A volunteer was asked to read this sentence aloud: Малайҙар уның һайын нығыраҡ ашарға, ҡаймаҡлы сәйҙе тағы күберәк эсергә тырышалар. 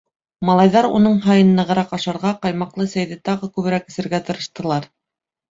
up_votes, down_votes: 1, 3